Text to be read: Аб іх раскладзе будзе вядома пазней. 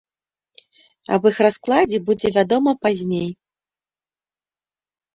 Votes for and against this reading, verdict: 2, 0, accepted